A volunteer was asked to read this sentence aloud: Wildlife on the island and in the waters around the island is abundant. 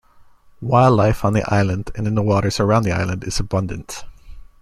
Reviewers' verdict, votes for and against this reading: accepted, 2, 0